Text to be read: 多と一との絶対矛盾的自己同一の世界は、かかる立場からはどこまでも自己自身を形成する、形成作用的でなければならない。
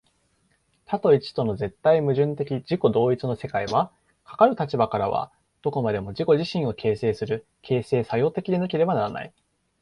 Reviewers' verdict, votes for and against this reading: accepted, 2, 0